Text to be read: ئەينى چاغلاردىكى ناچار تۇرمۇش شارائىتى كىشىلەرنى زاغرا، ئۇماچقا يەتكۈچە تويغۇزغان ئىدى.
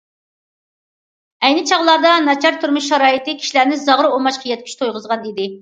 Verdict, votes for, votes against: rejected, 1, 2